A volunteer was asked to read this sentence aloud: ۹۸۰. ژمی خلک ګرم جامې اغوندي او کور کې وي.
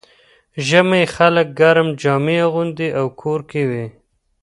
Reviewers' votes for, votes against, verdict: 0, 2, rejected